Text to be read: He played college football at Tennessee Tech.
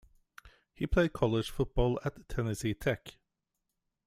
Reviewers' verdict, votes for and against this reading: accepted, 2, 0